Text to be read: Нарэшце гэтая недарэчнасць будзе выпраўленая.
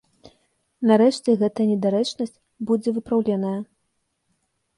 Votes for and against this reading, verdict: 1, 2, rejected